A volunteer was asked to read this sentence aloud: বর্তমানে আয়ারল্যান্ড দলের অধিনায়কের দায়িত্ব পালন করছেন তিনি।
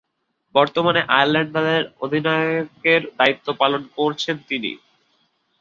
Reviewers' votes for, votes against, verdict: 2, 4, rejected